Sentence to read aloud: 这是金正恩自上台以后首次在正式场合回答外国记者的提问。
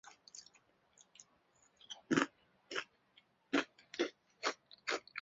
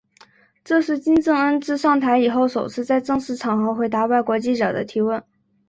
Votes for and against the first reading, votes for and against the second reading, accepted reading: 0, 3, 2, 0, second